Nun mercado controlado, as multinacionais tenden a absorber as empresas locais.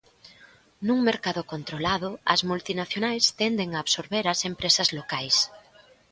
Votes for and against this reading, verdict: 2, 0, accepted